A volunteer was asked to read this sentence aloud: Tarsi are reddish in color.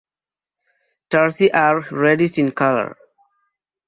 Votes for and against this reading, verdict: 2, 0, accepted